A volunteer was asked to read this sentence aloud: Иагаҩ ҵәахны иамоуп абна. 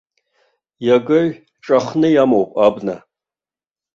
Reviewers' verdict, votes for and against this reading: rejected, 1, 2